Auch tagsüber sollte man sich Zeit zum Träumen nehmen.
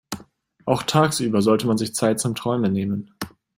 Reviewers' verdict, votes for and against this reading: accepted, 2, 0